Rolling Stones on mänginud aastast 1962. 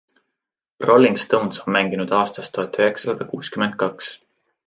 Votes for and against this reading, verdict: 0, 2, rejected